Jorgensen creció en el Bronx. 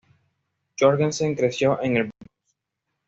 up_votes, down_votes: 1, 2